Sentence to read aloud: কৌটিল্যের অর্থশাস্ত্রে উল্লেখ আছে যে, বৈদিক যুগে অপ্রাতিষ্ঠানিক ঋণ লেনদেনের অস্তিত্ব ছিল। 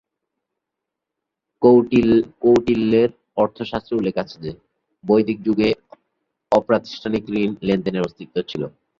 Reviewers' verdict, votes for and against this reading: rejected, 6, 8